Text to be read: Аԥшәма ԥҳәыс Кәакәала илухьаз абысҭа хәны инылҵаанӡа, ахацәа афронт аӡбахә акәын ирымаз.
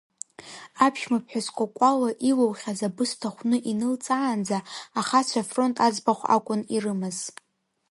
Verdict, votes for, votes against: accepted, 2, 0